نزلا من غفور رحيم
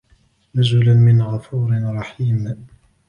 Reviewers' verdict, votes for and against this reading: accepted, 2, 0